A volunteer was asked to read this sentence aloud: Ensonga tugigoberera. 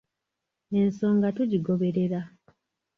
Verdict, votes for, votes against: rejected, 1, 2